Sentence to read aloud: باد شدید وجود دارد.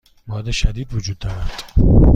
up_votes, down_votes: 2, 0